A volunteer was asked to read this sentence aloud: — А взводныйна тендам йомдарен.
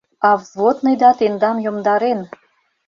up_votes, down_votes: 1, 2